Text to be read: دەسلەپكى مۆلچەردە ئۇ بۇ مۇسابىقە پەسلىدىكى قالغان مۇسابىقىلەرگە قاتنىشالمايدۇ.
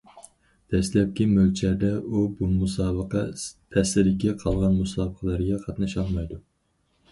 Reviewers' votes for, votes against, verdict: 0, 4, rejected